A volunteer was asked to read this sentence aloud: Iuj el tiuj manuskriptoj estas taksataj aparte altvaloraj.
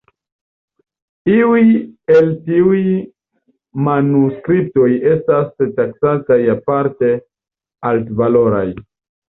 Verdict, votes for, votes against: rejected, 0, 2